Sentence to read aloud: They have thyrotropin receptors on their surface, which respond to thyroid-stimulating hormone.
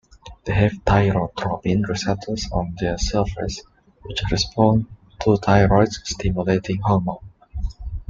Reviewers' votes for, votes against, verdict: 2, 0, accepted